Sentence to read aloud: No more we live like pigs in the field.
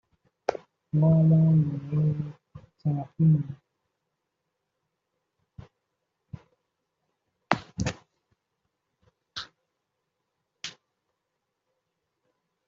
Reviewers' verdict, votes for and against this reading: rejected, 0, 2